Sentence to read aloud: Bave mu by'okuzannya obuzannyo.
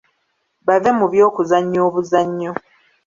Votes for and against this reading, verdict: 2, 0, accepted